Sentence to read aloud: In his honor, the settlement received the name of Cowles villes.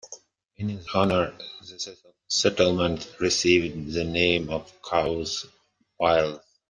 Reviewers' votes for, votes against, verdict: 2, 1, accepted